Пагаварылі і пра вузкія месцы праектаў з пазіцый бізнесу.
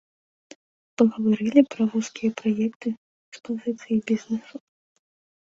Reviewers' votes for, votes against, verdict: 0, 2, rejected